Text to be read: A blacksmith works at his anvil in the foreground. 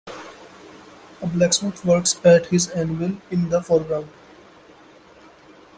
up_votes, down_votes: 2, 0